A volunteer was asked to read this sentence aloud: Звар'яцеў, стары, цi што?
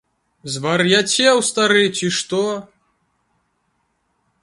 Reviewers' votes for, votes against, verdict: 2, 0, accepted